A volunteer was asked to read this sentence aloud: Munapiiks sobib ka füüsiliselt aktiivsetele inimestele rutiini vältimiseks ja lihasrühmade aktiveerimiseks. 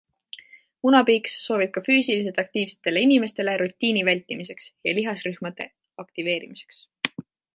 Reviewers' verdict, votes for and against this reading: accepted, 2, 0